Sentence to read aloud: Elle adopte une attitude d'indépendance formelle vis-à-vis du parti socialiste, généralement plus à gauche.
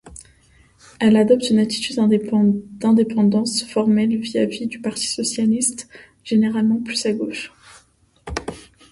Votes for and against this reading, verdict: 1, 2, rejected